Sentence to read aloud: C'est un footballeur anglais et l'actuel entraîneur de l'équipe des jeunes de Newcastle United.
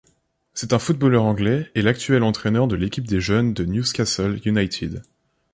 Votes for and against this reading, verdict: 1, 2, rejected